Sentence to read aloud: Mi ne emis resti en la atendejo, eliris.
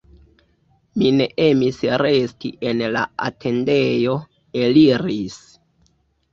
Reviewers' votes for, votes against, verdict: 2, 0, accepted